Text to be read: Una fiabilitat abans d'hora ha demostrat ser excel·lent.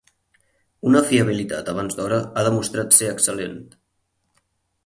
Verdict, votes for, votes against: accepted, 8, 0